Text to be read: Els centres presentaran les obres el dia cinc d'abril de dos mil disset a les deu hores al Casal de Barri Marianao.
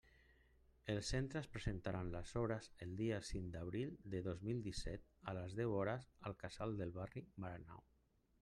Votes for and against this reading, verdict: 1, 2, rejected